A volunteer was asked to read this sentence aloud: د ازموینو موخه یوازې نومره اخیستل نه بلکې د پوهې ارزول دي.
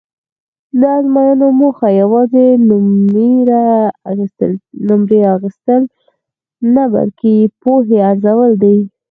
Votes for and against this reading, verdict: 2, 4, rejected